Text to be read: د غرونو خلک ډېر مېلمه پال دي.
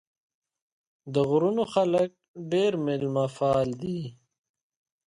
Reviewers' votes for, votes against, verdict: 2, 1, accepted